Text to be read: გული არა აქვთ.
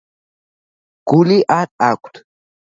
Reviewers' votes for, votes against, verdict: 1, 2, rejected